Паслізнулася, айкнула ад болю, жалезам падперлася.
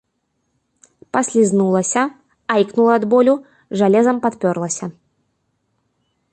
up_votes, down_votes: 1, 2